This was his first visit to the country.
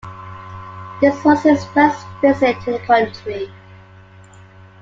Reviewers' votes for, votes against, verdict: 2, 0, accepted